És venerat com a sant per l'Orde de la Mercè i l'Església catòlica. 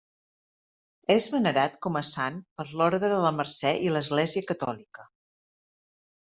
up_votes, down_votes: 3, 0